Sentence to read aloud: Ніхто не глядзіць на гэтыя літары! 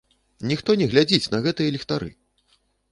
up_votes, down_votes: 1, 2